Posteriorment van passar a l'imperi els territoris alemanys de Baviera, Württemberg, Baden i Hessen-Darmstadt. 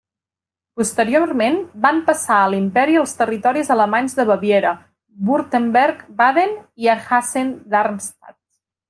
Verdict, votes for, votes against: accepted, 2, 0